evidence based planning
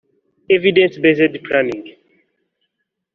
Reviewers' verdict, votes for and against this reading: accepted, 2, 1